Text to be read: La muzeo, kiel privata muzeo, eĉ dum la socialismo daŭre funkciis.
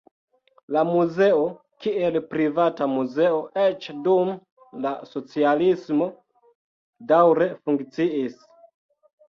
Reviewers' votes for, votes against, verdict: 2, 0, accepted